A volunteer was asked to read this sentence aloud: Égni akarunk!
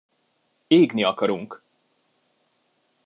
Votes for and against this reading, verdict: 2, 0, accepted